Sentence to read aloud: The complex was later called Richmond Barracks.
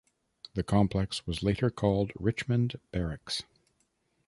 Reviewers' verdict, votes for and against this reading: accepted, 2, 0